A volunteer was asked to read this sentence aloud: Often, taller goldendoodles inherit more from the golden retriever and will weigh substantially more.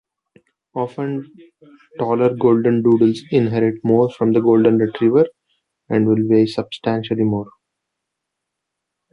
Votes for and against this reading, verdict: 2, 0, accepted